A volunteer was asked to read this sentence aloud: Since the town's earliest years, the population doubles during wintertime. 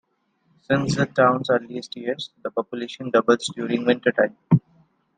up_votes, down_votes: 2, 0